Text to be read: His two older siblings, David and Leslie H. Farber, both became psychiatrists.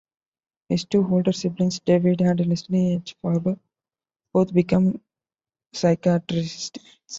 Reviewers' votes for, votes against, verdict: 1, 2, rejected